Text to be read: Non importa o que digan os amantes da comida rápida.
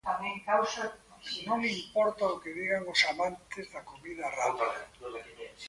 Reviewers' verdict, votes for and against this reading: rejected, 0, 2